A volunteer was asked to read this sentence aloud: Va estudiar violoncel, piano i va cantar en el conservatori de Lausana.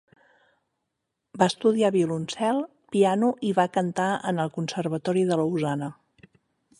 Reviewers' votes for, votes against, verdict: 6, 0, accepted